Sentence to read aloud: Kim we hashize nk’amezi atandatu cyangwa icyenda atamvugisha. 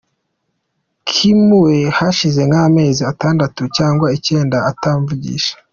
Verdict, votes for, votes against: accepted, 2, 1